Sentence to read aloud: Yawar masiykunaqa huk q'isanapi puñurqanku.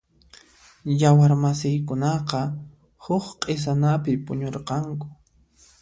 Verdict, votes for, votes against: accepted, 2, 0